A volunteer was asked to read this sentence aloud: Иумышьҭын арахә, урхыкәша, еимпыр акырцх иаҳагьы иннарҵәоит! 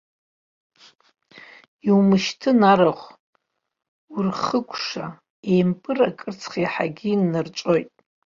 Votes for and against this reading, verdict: 2, 1, accepted